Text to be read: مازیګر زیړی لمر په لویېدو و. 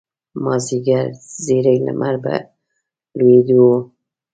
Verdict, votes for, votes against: rejected, 0, 3